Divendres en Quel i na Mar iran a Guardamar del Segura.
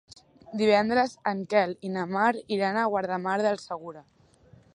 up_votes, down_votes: 3, 0